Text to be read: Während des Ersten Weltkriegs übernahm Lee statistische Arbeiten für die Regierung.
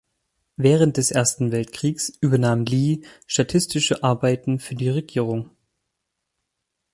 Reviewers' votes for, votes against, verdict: 4, 0, accepted